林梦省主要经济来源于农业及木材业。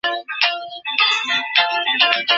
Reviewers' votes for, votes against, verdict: 0, 4, rejected